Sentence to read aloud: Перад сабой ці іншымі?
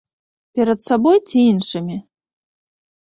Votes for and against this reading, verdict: 3, 0, accepted